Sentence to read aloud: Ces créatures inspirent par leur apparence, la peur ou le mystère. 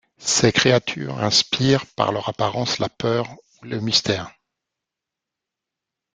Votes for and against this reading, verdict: 2, 0, accepted